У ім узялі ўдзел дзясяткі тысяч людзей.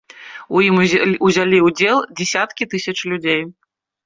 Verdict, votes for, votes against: rejected, 0, 2